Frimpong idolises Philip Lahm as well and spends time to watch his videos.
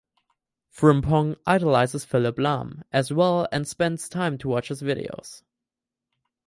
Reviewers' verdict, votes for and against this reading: accepted, 4, 0